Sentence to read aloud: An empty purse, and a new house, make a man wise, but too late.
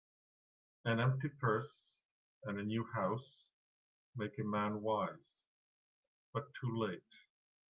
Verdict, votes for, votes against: accepted, 2, 0